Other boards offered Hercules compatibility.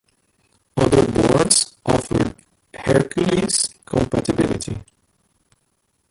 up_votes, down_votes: 1, 2